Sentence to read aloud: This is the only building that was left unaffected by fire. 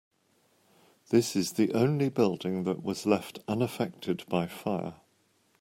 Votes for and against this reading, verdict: 2, 0, accepted